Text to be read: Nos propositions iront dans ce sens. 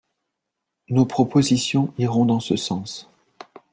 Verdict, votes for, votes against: accepted, 2, 0